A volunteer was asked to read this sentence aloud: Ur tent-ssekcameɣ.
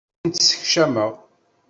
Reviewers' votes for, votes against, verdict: 0, 2, rejected